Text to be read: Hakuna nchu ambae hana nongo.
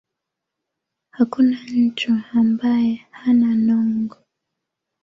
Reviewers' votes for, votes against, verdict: 2, 0, accepted